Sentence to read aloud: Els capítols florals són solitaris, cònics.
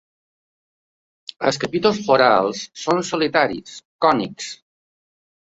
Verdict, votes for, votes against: rejected, 1, 2